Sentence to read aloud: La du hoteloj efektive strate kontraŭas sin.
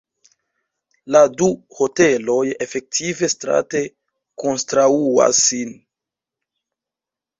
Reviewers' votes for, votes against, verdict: 1, 2, rejected